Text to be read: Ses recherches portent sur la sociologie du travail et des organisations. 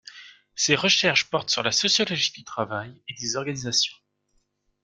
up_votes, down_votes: 2, 0